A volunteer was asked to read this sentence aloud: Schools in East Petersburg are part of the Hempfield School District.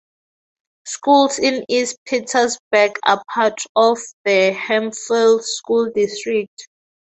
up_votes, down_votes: 2, 2